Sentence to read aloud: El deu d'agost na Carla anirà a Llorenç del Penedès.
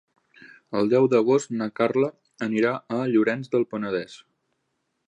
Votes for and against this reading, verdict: 3, 0, accepted